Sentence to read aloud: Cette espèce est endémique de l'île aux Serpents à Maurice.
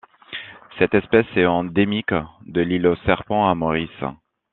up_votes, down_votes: 2, 1